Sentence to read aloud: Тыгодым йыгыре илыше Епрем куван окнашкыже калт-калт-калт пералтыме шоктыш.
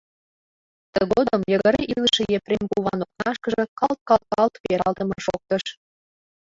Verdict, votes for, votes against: rejected, 1, 2